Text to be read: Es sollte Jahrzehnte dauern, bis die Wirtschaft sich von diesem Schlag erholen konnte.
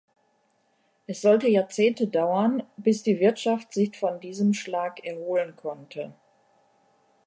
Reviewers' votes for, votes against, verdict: 2, 0, accepted